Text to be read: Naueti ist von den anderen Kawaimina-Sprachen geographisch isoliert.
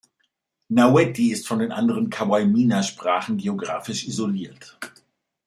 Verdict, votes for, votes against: accepted, 2, 0